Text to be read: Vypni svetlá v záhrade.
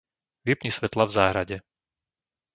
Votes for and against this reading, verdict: 2, 0, accepted